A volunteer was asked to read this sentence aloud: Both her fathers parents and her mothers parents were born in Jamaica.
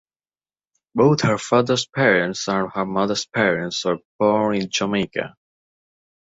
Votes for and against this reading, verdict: 1, 2, rejected